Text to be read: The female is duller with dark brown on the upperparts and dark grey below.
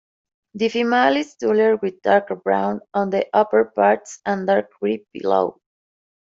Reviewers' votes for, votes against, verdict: 2, 1, accepted